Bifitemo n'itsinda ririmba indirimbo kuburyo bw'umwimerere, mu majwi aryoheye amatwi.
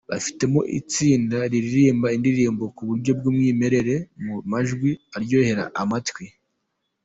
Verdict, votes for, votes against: accepted, 2, 0